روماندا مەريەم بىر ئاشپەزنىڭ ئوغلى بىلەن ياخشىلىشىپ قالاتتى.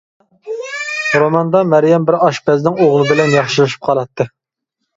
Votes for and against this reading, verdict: 2, 0, accepted